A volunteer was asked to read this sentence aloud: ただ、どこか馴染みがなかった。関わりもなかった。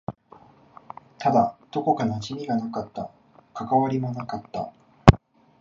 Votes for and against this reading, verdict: 0, 2, rejected